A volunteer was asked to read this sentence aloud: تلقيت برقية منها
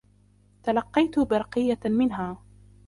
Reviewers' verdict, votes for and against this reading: rejected, 0, 2